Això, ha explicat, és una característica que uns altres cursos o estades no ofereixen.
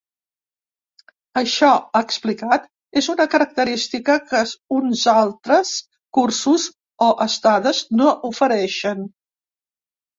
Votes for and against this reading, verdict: 0, 3, rejected